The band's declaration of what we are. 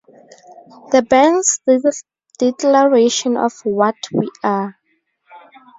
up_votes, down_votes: 0, 2